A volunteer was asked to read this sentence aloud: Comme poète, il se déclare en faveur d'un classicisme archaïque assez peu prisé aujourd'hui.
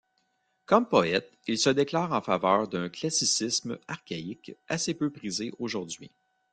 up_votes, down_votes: 0, 2